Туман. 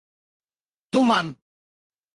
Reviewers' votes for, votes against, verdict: 4, 2, accepted